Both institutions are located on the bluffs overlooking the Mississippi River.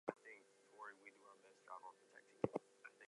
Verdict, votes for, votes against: rejected, 0, 2